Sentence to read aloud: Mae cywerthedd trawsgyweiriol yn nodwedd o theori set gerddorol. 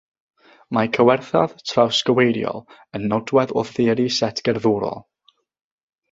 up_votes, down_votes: 0, 3